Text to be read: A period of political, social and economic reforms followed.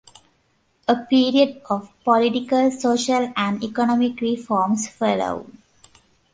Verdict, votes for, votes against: rejected, 0, 2